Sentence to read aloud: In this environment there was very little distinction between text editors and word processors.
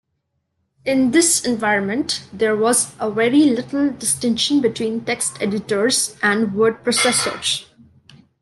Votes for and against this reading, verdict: 1, 2, rejected